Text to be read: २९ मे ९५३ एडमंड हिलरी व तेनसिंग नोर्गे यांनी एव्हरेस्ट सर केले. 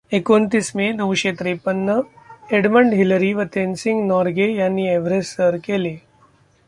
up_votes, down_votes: 0, 2